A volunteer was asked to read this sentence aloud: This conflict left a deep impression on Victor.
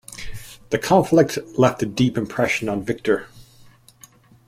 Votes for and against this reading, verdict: 2, 1, accepted